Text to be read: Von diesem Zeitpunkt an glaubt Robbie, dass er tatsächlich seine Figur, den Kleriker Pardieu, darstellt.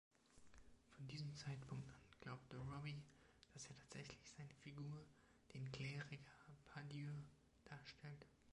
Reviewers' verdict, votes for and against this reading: rejected, 0, 2